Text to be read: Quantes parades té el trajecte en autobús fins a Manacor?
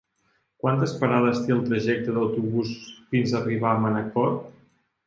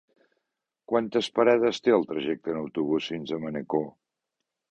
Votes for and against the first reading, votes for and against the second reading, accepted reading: 1, 3, 2, 0, second